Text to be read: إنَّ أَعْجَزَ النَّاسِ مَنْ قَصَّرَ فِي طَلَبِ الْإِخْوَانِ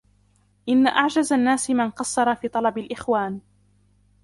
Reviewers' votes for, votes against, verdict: 0, 2, rejected